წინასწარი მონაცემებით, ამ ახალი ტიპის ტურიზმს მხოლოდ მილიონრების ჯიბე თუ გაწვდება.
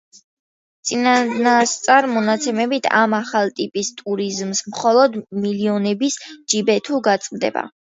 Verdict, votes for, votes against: rejected, 0, 2